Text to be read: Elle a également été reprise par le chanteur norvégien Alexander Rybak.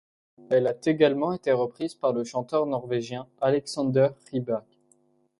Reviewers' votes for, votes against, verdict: 1, 2, rejected